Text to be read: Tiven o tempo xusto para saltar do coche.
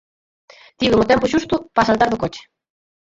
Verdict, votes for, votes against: rejected, 0, 4